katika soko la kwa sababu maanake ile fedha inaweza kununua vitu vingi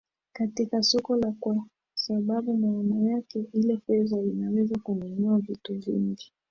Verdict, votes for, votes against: rejected, 1, 2